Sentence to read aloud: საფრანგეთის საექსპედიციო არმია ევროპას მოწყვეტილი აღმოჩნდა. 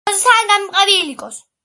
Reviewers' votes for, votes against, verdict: 0, 2, rejected